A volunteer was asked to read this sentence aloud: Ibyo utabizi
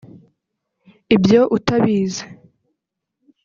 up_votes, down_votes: 1, 2